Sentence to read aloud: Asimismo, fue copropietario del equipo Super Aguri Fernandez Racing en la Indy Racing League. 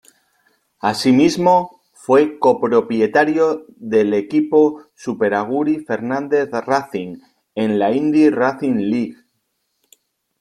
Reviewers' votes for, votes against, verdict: 2, 3, rejected